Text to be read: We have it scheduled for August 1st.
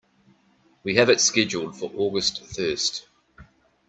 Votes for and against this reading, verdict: 0, 2, rejected